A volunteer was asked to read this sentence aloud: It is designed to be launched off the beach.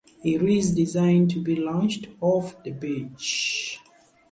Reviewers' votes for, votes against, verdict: 2, 1, accepted